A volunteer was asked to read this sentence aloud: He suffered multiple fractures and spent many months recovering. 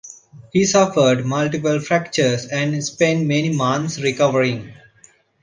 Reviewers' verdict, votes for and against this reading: accepted, 2, 0